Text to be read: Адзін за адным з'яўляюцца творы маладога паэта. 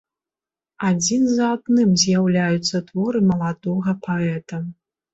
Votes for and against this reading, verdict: 2, 0, accepted